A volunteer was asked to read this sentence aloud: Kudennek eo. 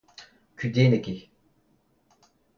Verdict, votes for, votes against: accepted, 2, 0